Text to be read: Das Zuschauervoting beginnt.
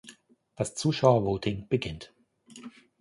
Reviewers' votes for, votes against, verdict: 2, 0, accepted